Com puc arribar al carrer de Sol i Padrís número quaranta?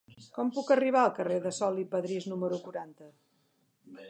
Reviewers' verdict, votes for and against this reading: accepted, 2, 0